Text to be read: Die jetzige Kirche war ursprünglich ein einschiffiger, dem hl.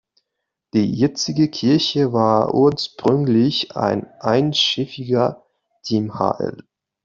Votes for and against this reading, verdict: 1, 2, rejected